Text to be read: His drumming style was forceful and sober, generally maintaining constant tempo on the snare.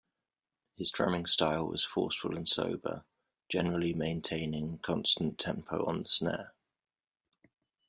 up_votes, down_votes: 2, 0